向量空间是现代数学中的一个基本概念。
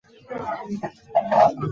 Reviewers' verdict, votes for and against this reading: rejected, 0, 2